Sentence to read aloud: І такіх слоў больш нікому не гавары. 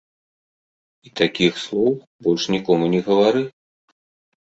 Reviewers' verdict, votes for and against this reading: accepted, 2, 0